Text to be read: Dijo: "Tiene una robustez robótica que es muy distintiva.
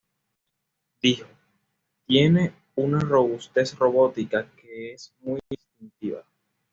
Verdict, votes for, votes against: rejected, 1, 2